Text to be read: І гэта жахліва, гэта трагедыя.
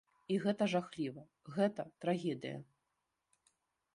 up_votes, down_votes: 2, 0